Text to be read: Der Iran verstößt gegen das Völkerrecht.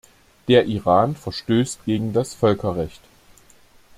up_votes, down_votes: 2, 0